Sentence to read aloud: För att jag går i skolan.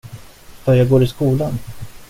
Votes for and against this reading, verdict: 1, 2, rejected